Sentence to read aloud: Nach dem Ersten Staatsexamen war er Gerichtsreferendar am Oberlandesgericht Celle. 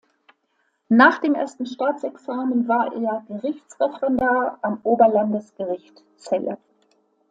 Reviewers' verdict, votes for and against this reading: accepted, 2, 0